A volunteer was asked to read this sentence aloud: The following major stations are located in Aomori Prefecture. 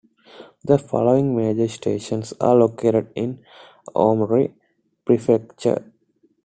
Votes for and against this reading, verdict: 2, 1, accepted